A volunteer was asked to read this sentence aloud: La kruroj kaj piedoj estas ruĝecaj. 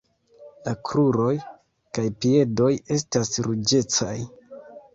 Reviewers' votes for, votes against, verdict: 2, 1, accepted